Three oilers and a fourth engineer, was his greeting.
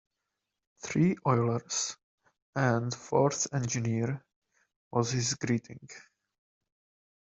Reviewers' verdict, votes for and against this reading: rejected, 1, 2